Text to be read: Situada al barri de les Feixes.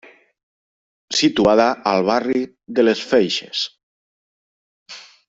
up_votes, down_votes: 3, 0